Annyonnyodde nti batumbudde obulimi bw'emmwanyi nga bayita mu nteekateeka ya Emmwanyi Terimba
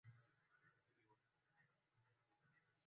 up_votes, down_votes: 0, 2